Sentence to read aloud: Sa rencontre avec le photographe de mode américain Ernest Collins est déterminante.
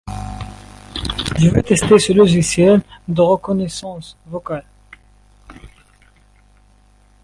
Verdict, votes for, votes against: rejected, 0, 2